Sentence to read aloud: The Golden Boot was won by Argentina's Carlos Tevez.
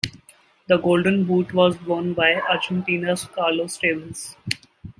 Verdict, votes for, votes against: accepted, 2, 0